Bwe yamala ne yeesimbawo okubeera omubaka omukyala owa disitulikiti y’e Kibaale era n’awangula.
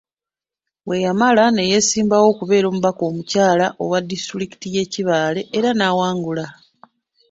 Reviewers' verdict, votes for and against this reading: accepted, 2, 0